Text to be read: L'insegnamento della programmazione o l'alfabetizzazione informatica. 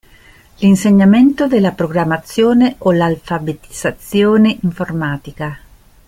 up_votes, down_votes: 1, 2